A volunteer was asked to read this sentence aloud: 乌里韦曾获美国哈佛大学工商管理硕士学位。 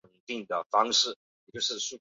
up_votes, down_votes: 0, 2